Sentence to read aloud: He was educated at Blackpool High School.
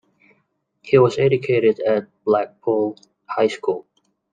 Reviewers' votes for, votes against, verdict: 2, 0, accepted